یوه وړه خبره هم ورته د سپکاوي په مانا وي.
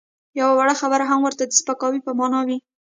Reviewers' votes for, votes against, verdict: 1, 2, rejected